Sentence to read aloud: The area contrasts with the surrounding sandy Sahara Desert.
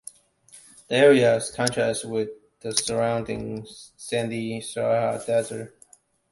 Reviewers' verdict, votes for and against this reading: rejected, 1, 2